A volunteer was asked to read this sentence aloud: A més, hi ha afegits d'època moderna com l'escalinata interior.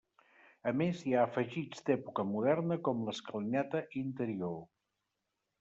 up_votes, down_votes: 2, 0